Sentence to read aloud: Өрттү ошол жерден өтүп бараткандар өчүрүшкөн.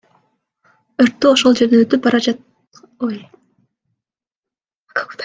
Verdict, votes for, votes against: rejected, 0, 2